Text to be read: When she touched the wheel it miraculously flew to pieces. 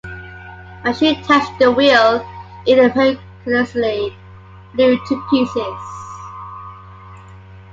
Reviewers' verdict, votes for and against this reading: rejected, 0, 2